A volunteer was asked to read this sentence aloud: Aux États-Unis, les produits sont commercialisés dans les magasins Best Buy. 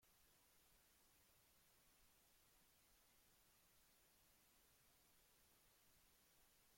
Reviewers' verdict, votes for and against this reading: rejected, 0, 3